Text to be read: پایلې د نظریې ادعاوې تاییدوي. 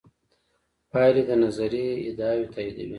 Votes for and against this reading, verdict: 2, 0, accepted